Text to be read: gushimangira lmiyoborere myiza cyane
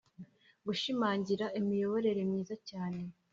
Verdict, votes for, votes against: accepted, 2, 0